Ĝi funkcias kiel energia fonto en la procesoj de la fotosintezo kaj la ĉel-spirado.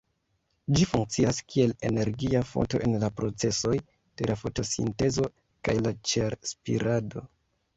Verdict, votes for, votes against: accepted, 2, 1